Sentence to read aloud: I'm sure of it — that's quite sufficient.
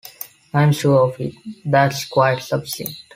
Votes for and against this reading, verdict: 3, 1, accepted